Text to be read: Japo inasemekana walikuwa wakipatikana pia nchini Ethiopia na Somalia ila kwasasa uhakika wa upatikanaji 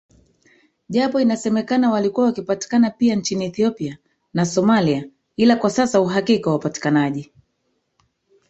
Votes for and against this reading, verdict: 0, 2, rejected